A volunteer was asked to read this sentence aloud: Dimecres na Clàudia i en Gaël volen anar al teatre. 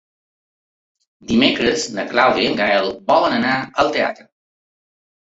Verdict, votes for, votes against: accepted, 3, 0